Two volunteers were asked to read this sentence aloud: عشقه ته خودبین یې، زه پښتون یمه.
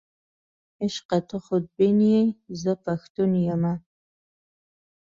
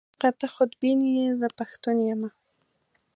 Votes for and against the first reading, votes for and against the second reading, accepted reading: 2, 0, 1, 2, first